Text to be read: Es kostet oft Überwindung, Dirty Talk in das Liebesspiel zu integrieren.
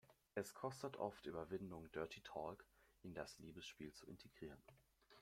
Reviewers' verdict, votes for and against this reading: rejected, 0, 2